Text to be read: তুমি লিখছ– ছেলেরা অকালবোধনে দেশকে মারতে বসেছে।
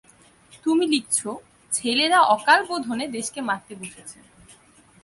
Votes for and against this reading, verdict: 2, 0, accepted